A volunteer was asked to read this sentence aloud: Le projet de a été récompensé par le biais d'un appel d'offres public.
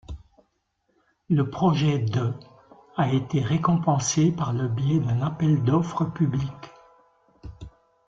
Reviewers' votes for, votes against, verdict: 2, 0, accepted